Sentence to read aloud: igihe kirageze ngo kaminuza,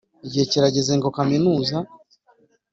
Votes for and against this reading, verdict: 2, 0, accepted